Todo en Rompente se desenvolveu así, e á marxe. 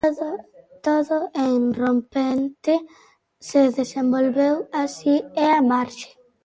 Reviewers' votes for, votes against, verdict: 0, 2, rejected